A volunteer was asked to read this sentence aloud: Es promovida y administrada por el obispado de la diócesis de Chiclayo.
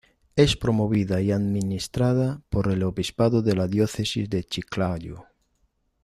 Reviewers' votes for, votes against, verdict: 1, 2, rejected